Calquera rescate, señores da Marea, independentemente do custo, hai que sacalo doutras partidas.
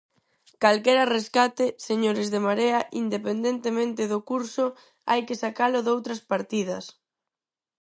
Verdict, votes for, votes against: rejected, 0, 4